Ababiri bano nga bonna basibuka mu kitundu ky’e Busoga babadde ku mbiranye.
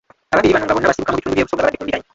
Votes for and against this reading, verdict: 0, 2, rejected